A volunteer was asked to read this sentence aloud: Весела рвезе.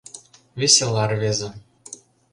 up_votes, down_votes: 2, 0